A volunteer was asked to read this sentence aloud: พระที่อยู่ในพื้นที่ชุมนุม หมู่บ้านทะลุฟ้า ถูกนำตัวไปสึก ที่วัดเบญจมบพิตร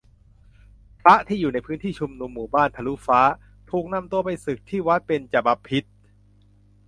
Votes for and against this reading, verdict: 0, 2, rejected